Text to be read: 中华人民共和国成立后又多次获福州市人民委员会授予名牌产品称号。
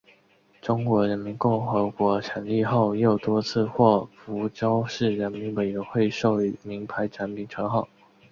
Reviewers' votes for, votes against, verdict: 3, 0, accepted